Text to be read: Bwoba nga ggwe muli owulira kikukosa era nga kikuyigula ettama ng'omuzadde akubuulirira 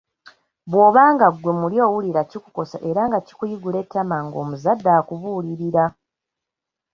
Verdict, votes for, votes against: accepted, 2, 0